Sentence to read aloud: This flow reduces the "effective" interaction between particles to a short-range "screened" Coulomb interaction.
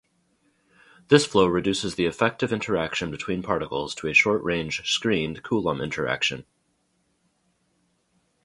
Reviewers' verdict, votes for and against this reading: accepted, 2, 0